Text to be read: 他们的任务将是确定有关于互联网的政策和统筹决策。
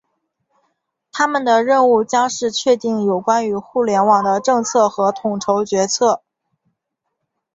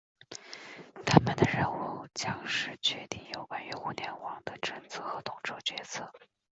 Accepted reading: first